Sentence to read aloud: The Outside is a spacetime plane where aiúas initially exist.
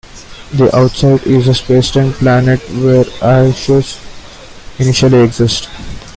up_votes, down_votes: 0, 2